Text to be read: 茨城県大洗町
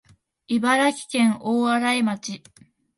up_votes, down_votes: 2, 0